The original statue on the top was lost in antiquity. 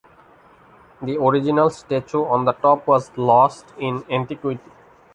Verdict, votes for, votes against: rejected, 1, 2